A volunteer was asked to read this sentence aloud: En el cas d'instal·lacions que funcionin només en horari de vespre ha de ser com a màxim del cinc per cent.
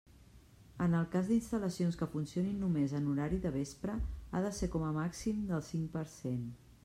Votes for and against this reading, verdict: 3, 0, accepted